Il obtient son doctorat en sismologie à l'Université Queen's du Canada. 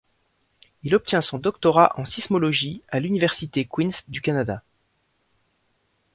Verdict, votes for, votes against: accepted, 2, 0